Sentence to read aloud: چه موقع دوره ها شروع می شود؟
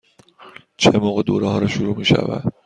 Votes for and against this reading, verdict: 2, 0, accepted